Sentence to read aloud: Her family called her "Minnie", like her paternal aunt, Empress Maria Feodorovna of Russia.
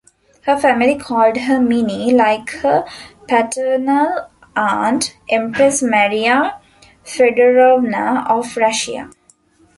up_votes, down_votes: 2, 1